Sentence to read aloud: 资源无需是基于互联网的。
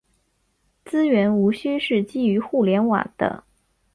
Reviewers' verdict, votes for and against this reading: accepted, 4, 0